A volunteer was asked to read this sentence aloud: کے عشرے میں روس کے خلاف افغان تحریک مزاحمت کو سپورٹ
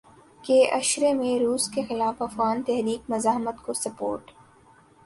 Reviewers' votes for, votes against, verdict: 3, 0, accepted